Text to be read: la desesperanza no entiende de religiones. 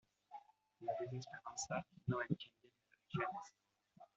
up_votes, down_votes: 1, 2